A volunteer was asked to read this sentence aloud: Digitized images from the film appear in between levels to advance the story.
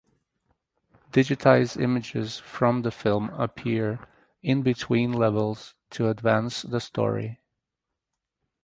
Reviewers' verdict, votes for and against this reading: accepted, 2, 0